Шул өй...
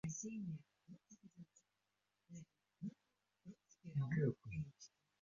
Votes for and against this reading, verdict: 0, 2, rejected